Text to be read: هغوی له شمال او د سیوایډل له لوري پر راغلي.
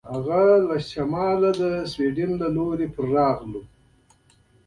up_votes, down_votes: 2, 1